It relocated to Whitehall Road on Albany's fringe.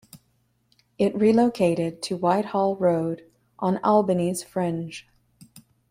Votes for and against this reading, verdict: 2, 0, accepted